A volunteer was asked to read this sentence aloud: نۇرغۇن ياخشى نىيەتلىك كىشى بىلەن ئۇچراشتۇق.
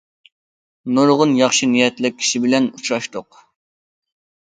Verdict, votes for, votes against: accepted, 2, 0